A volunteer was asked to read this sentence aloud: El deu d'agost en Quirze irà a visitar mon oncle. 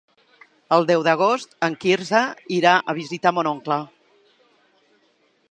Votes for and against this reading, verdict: 3, 0, accepted